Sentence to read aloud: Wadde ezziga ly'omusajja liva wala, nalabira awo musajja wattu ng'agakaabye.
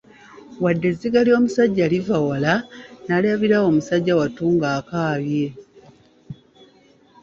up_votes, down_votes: 1, 2